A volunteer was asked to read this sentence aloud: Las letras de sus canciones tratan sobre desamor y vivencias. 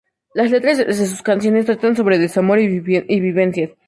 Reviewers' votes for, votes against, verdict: 0, 2, rejected